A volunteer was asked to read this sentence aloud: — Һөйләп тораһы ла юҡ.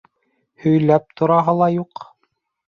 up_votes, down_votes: 2, 0